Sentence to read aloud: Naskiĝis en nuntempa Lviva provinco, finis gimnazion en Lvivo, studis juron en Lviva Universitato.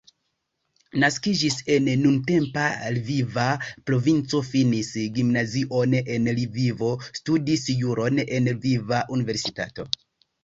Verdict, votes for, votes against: accepted, 2, 0